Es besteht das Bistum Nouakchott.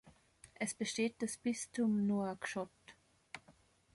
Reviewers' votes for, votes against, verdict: 2, 0, accepted